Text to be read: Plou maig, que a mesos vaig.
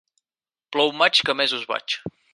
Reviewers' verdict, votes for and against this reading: accepted, 4, 0